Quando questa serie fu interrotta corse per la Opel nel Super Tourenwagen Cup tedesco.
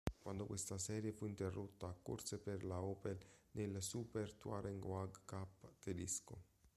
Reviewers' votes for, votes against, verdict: 0, 2, rejected